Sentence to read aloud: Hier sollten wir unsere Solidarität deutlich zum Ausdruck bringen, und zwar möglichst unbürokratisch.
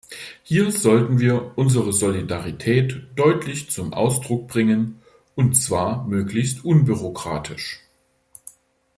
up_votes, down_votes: 2, 0